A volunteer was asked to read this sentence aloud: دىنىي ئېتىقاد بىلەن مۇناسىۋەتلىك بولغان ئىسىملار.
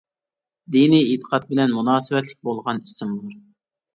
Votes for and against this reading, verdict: 0, 2, rejected